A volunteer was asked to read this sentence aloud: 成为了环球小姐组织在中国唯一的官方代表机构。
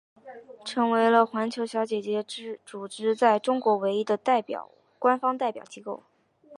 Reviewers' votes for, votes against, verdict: 2, 0, accepted